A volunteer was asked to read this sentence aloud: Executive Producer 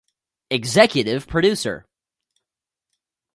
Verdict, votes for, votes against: rejected, 0, 2